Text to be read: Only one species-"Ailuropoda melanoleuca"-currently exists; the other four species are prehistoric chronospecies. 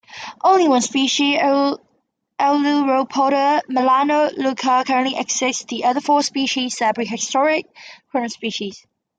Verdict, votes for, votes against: rejected, 0, 2